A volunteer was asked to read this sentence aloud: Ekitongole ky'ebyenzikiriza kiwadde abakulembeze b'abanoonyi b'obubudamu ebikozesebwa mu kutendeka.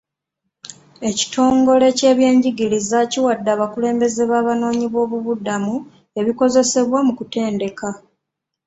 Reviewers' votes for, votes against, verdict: 0, 2, rejected